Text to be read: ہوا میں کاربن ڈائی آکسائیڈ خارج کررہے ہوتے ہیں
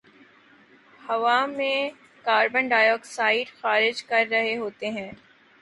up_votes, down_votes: 3, 0